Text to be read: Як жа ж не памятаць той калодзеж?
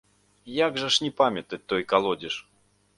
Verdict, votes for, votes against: accepted, 2, 0